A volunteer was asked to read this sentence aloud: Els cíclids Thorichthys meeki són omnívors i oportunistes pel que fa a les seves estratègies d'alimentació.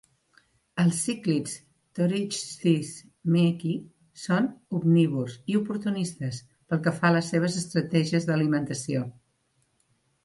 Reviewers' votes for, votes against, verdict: 2, 0, accepted